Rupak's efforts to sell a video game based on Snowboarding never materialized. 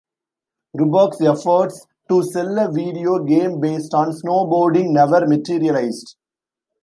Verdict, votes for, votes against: accepted, 2, 1